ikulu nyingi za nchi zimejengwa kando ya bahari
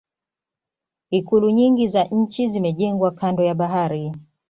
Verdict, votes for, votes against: accepted, 2, 0